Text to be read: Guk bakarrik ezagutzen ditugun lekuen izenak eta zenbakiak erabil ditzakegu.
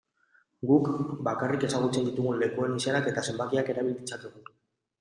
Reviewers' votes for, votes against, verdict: 2, 0, accepted